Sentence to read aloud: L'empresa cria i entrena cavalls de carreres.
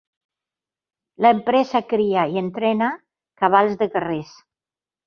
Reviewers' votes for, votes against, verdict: 0, 2, rejected